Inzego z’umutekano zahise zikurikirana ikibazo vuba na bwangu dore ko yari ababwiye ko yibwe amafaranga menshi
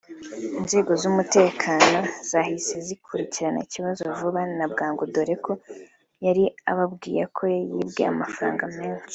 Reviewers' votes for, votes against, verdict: 2, 0, accepted